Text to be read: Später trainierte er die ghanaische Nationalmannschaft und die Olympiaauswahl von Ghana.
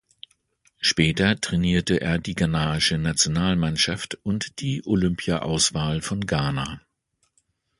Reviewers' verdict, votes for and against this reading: accepted, 2, 0